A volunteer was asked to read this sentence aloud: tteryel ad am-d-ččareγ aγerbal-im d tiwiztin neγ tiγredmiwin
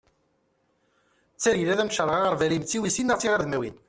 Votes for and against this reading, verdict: 1, 2, rejected